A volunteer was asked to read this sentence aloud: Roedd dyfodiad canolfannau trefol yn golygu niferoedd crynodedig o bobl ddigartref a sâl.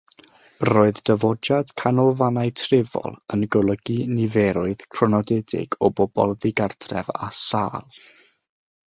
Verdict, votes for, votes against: rejected, 0, 3